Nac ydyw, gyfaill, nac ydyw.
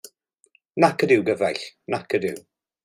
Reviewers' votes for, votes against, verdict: 1, 2, rejected